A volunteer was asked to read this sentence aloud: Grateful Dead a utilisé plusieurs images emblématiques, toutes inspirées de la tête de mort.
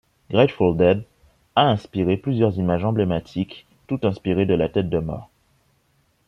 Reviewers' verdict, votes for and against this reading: rejected, 0, 2